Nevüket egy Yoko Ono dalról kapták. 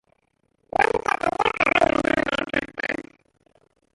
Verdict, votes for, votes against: rejected, 0, 2